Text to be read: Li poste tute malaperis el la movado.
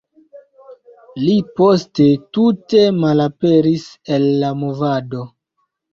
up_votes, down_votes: 1, 2